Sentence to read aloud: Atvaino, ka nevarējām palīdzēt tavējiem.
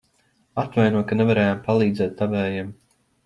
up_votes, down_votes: 2, 0